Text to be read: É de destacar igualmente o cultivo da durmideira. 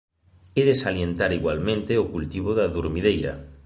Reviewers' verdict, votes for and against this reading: rejected, 1, 3